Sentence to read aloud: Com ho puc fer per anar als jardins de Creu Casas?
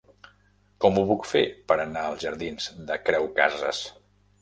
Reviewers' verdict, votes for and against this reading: accepted, 2, 0